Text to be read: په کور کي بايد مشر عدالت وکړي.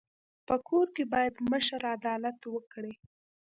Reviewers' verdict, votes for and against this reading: rejected, 1, 2